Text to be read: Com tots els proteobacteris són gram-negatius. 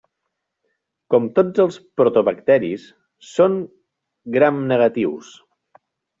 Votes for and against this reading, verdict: 0, 2, rejected